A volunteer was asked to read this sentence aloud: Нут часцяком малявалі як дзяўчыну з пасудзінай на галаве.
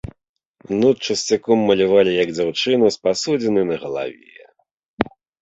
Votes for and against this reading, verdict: 2, 0, accepted